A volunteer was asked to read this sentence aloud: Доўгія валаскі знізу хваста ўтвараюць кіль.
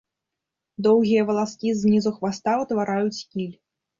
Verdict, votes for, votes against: accepted, 2, 0